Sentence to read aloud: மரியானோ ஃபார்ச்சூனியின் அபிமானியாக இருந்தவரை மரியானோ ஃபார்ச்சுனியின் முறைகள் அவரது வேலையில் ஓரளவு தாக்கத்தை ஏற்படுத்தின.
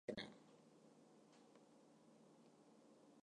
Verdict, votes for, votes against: rejected, 0, 2